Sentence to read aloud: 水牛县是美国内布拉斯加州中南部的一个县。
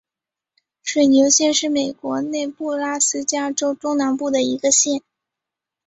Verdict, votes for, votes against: accepted, 4, 1